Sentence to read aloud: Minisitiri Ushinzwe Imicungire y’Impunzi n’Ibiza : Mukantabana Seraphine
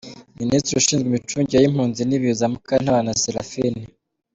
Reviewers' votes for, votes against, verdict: 2, 0, accepted